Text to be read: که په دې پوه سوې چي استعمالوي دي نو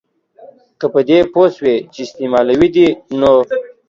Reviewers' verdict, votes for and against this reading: accepted, 2, 0